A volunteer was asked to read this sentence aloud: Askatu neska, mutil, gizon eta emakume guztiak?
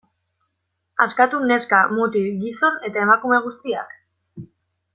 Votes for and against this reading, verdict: 0, 2, rejected